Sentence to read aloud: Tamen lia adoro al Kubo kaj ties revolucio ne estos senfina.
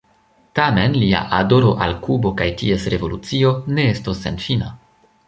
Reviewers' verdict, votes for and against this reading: accepted, 2, 0